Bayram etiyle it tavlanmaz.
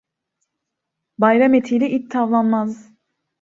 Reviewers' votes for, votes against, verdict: 0, 2, rejected